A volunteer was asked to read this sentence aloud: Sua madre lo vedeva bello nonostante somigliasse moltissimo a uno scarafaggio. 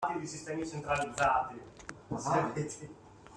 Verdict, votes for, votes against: rejected, 0, 2